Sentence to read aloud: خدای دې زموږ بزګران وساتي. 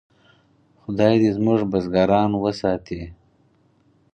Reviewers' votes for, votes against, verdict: 4, 0, accepted